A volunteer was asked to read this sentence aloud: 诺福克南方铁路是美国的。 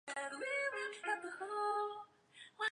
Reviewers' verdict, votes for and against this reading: rejected, 0, 3